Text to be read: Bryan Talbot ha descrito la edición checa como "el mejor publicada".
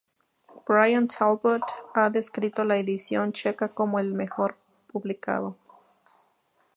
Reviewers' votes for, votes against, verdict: 0, 2, rejected